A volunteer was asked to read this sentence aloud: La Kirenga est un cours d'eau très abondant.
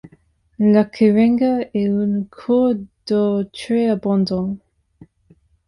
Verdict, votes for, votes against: rejected, 0, 2